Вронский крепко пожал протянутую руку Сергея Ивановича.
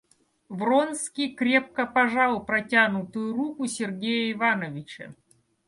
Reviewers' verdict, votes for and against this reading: accepted, 2, 0